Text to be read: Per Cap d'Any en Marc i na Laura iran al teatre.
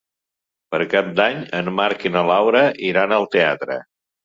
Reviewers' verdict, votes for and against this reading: accepted, 2, 0